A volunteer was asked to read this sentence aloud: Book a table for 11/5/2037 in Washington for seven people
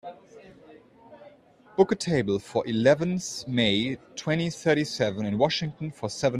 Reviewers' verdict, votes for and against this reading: rejected, 0, 2